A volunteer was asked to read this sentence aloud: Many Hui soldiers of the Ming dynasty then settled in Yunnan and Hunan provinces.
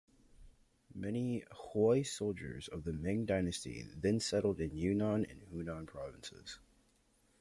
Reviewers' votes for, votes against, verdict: 0, 2, rejected